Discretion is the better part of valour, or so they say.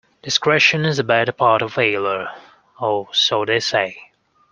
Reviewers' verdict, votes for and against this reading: rejected, 1, 2